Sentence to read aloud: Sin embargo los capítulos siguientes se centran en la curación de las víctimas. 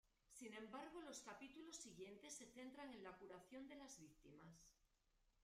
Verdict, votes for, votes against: rejected, 1, 2